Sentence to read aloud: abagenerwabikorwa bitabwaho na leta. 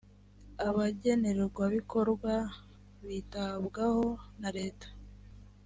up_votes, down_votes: 3, 0